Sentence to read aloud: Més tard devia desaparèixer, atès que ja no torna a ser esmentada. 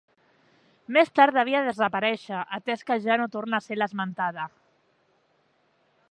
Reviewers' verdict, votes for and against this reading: rejected, 0, 4